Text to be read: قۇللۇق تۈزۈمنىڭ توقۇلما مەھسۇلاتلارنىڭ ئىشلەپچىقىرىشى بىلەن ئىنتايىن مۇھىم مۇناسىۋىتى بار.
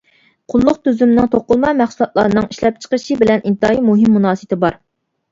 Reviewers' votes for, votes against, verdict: 0, 2, rejected